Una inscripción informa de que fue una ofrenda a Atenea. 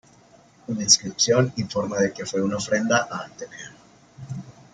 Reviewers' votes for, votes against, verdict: 1, 2, rejected